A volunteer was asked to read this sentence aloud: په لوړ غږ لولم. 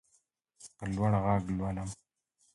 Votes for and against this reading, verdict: 2, 1, accepted